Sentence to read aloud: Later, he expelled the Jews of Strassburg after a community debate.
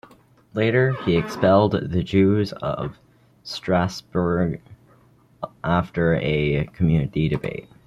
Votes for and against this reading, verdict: 2, 0, accepted